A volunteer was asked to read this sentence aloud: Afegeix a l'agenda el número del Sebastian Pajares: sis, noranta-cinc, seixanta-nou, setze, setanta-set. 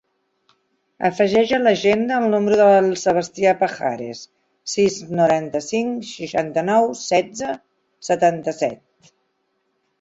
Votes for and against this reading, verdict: 1, 2, rejected